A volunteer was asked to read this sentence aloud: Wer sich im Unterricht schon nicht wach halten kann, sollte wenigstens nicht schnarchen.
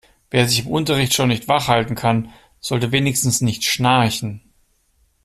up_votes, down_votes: 2, 0